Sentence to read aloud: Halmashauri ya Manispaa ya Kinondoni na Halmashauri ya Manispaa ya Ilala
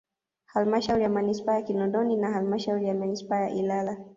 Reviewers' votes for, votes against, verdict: 1, 2, rejected